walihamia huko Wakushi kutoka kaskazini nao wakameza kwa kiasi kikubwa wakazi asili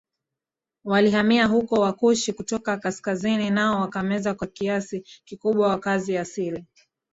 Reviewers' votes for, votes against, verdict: 1, 2, rejected